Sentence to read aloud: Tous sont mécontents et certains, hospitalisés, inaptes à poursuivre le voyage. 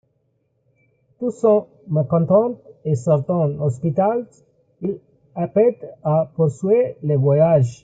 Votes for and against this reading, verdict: 1, 2, rejected